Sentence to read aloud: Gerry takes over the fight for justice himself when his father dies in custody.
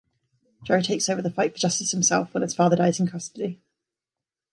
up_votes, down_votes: 0, 2